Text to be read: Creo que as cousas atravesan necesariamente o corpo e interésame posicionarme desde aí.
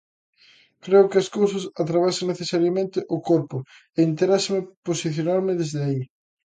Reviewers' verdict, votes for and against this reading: rejected, 0, 2